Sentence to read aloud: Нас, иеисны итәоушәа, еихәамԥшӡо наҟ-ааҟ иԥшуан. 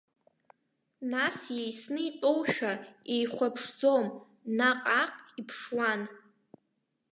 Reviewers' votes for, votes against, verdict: 1, 2, rejected